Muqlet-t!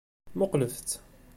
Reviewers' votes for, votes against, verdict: 2, 0, accepted